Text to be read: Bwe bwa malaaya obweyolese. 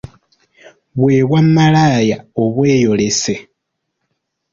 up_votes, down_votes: 0, 2